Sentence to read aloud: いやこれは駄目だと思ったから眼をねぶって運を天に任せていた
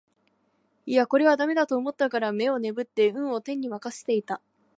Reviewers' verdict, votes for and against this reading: accepted, 2, 0